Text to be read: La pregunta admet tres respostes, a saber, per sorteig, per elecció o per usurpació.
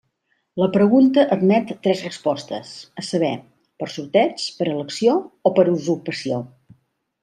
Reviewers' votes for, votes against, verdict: 2, 0, accepted